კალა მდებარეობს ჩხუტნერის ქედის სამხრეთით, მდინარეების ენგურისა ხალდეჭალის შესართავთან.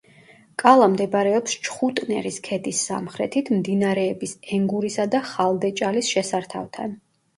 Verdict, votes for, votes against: rejected, 0, 2